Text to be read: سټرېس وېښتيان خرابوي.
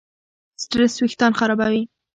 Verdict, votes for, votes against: accepted, 2, 1